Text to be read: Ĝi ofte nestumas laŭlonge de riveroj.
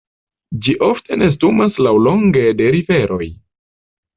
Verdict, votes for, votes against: accepted, 2, 0